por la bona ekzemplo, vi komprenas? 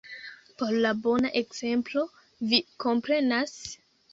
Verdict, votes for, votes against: rejected, 1, 2